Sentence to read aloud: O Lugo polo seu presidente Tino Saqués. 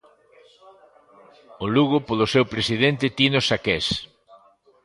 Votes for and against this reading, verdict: 1, 2, rejected